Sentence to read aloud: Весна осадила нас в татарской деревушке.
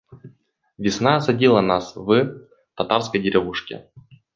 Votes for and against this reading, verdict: 2, 1, accepted